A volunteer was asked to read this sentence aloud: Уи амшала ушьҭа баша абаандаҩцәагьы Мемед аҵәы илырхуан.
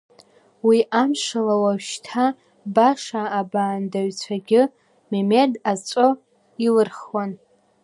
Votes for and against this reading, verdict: 1, 3, rejected